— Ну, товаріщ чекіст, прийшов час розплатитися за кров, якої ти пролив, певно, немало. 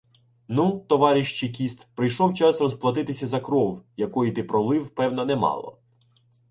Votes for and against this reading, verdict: 2, 1, accepted